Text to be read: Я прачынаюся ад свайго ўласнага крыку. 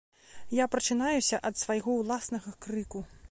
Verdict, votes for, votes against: accepted, 3, 1